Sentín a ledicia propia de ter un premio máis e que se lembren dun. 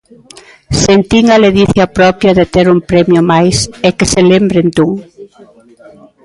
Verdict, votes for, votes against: rejected, 1, 2